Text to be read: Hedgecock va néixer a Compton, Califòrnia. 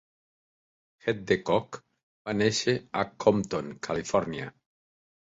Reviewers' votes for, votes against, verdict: 2, 0, accepted